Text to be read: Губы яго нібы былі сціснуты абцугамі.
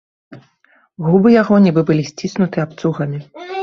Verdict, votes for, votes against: rejected, 0, 2